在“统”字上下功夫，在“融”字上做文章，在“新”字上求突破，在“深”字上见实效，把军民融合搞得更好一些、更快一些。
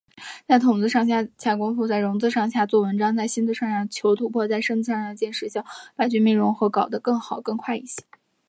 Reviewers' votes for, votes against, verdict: 2, 1, accepted